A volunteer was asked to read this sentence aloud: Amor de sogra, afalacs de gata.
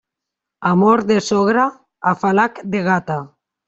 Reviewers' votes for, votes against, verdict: 1, 2, rejected